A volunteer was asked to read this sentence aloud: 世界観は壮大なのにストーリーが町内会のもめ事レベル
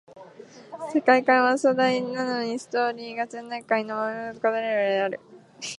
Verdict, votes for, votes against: rejected, 0, 2